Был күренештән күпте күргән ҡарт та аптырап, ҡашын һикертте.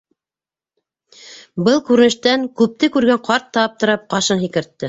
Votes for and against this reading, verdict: 2, 0, accepted